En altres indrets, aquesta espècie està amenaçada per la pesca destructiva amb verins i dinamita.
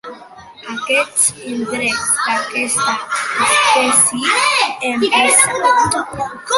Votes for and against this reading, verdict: 1, 2, rejected